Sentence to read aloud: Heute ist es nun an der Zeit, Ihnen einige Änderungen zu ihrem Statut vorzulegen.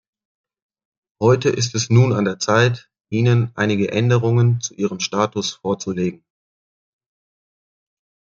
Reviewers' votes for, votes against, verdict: 0, 2, rejected